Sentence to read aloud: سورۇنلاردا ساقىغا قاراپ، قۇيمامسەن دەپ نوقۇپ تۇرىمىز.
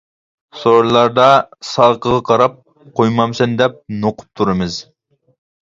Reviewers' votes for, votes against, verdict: 2, 0, accepted